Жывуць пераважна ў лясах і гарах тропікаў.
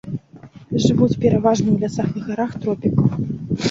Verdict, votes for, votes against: rejected, 0, 2